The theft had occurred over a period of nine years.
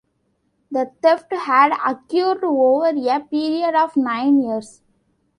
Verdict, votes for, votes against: rejected, 1, 2